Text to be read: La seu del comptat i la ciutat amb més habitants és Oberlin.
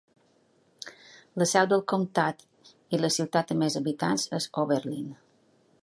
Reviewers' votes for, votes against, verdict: 2, 0, accepted